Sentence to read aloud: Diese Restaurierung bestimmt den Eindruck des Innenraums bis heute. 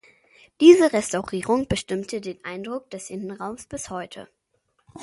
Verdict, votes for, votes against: rejected, 0, 2